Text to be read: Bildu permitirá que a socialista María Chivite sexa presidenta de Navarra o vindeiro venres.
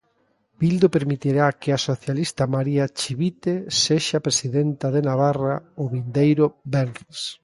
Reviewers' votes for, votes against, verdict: 2, 0, accepted